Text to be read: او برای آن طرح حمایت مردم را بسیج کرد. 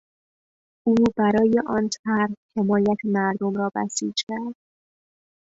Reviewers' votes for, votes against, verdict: 2, 0, accepted